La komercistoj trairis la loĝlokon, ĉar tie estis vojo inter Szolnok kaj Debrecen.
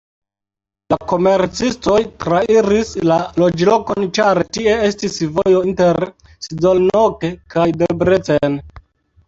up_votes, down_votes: 2, 1